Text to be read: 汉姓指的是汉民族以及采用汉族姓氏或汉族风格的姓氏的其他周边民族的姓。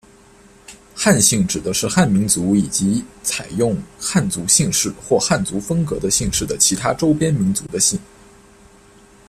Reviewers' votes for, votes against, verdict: 2, 0, accepted